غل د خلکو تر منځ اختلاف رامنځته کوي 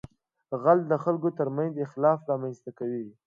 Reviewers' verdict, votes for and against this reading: accepted, 2, 0